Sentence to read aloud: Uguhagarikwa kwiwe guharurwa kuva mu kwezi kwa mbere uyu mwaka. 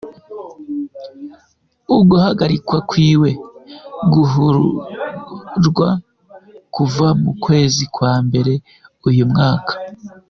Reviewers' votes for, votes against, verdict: 0, 2, rejected